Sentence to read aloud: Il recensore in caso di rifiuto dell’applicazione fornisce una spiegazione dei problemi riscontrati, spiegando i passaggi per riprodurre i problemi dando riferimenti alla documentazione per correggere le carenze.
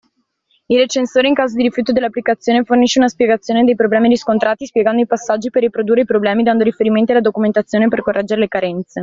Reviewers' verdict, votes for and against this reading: accepted, 2, 0